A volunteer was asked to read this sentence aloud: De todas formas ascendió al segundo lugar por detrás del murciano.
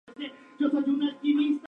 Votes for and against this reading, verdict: 0, 2, rejected